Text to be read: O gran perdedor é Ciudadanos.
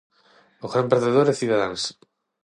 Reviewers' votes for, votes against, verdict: 0, 6, rejected